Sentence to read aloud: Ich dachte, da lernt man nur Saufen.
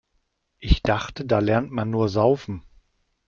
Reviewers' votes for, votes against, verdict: 2, 0, accepted